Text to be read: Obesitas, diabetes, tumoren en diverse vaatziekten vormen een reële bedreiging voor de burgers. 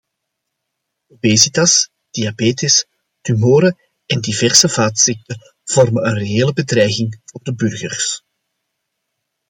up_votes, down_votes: 2, 0